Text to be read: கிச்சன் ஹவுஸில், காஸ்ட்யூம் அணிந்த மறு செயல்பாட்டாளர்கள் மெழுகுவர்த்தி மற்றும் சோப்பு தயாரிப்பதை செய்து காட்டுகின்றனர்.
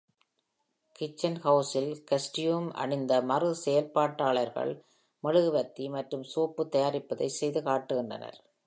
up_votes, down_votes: 2, 0